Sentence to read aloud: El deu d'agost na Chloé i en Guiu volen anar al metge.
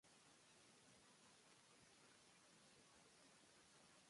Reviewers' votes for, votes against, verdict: 0, 2, rejected